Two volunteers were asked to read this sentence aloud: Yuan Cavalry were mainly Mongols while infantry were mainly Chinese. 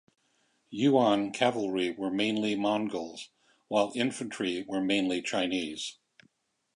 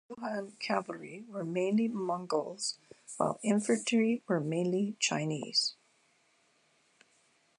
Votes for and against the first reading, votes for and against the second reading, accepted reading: 2, 0, 0, 2, first